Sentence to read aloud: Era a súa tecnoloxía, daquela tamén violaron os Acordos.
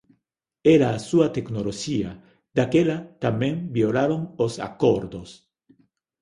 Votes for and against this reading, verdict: 2, 0, accepted